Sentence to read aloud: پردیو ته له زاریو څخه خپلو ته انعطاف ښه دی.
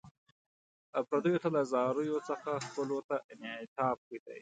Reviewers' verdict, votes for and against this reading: accepted, 2, 0